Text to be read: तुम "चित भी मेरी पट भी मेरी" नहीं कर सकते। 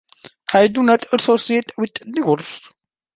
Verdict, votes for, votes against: rejected, 0, 2